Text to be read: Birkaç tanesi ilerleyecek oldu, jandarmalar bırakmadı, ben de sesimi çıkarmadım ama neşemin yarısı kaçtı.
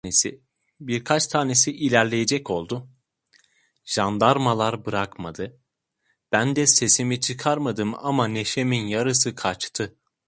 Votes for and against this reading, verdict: 0, 2, rejected